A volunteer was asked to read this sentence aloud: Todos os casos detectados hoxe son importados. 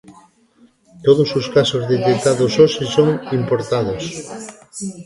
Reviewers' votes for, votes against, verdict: 2, 1, accepted